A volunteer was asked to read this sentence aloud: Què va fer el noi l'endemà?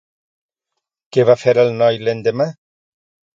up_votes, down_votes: 2, 0